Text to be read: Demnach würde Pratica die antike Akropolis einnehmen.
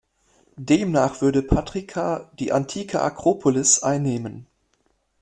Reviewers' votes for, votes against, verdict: 1, 2, rejected